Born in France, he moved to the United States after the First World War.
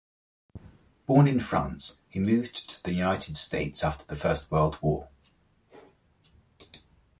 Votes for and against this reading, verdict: 2, 0, accepted